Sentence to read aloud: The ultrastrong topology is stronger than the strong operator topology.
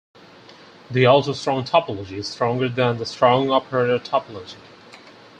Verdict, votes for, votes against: rejected, 2, 4